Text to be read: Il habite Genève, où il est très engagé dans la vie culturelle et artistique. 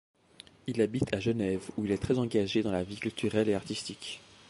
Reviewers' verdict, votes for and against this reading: rejected, 1, 2